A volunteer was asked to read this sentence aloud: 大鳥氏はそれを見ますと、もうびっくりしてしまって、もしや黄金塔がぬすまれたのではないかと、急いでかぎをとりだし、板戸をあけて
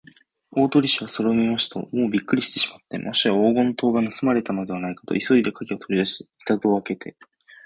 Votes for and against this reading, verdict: 46, 6, accepted